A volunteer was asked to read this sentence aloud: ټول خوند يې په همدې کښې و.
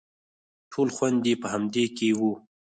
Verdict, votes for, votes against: rejected, 0, 4